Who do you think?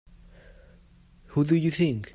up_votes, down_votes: 2, 0